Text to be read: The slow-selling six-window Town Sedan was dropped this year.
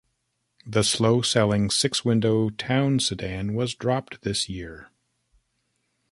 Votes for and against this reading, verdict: 2, 0, accepted